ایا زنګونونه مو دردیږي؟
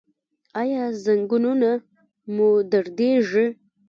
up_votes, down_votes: 1, 2